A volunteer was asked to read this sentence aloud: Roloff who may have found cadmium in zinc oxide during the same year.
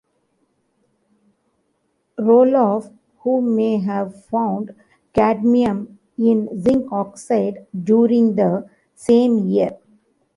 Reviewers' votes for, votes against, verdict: 2, 0, accepted